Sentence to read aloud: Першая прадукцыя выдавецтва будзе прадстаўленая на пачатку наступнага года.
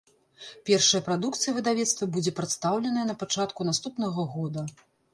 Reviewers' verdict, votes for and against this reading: accepted, 2, 0